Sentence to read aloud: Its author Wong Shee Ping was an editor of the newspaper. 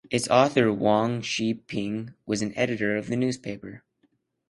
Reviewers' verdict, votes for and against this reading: accepted, 2, 0